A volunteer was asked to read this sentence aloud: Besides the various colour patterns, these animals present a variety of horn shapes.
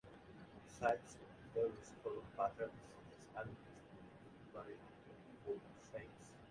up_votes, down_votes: 0, 2